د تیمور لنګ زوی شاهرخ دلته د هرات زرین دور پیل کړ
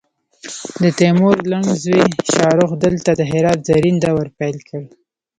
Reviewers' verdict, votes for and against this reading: rejected, 0, 2